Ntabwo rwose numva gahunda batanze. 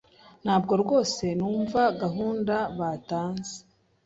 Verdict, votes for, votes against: accepted, 2, 0